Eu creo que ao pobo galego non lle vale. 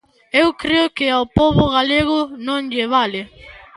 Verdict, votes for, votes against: accepted, 2, 0